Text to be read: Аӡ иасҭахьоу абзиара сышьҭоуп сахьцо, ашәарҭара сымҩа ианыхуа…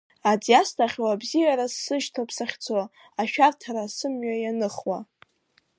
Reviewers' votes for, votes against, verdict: 2, 0, accepted